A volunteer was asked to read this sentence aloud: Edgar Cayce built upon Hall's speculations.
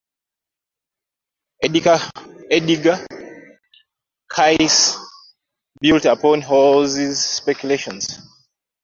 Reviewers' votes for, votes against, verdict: 0, 2, rejected